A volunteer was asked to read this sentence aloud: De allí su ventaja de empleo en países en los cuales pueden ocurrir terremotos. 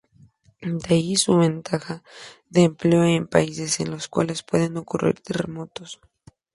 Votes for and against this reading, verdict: 2, 0, accepted